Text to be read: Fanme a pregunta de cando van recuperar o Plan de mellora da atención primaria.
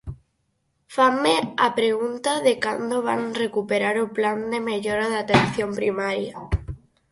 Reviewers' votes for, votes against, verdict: 4, 0, accepted